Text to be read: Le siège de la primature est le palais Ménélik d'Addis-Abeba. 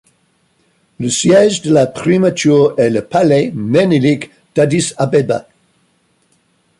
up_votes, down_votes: 2, 1